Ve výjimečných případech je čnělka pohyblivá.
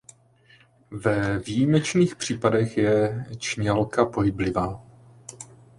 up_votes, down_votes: 2, 0